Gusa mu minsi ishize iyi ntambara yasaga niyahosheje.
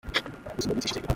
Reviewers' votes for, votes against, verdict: 0, 2, rejected